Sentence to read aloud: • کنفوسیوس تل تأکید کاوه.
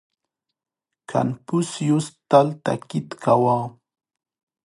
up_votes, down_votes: 1, 2